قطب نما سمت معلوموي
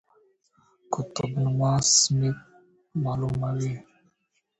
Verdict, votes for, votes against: rejected, 0, 2